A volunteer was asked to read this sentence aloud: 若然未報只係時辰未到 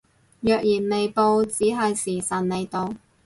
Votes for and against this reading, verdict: 2, 0, accepted